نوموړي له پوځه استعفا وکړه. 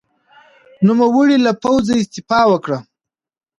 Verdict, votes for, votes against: accepted, 2, 0